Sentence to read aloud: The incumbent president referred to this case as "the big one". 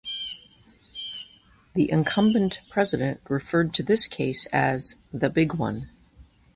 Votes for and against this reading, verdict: 2, 0, accepted